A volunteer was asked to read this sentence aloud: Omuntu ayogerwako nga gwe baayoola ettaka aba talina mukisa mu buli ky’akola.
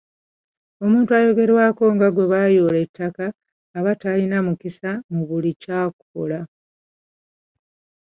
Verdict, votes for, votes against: accepted, 2, 0